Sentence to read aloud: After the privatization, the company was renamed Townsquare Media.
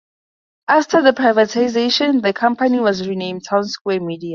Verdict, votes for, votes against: accepted, 4, 0